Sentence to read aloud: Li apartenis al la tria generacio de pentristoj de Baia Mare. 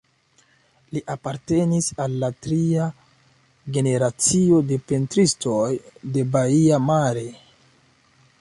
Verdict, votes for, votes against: accepted, 2, 0